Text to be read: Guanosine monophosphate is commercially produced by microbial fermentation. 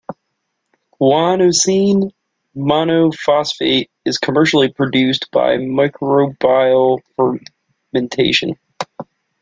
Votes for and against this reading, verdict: 0, 2, rejected